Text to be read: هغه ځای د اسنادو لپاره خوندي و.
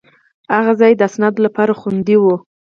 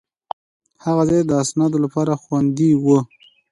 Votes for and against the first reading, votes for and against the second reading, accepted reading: 2, 4, 2, 0, second